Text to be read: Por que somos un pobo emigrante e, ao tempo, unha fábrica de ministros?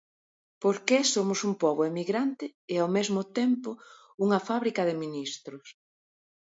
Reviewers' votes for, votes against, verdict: 0, 2, rejected